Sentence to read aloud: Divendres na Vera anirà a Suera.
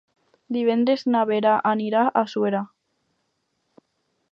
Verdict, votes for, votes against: accepted, 4, 0